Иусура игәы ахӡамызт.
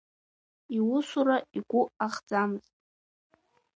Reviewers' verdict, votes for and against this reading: accepted, 2, 0